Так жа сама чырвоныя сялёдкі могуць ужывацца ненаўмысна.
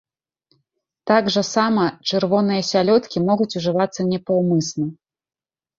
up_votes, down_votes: 0, 2